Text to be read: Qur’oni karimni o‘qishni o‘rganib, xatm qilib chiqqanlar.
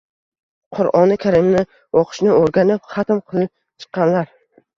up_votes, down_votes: 1, 2